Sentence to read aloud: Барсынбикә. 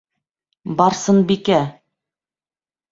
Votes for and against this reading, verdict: 2, 0, accepted